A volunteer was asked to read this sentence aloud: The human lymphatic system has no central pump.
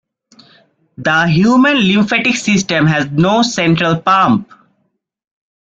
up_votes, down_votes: 2, 0